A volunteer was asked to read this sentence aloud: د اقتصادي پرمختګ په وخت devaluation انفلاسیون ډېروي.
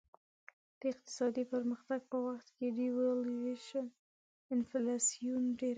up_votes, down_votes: 1, 2